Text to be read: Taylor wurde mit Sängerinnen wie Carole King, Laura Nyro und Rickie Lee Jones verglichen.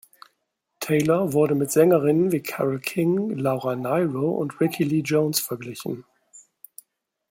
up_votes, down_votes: 2, 0